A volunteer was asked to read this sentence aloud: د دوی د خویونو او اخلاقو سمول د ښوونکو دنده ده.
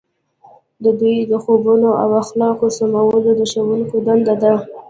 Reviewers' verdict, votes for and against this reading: rejected, 0, 2